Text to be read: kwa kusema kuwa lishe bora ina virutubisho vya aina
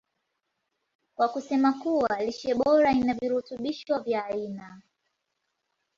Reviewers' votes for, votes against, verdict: 2, 0, accepted